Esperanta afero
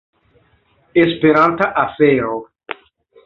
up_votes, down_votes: 2, 0